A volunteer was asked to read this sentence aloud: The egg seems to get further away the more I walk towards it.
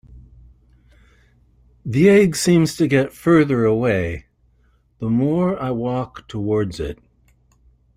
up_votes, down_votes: 2, 0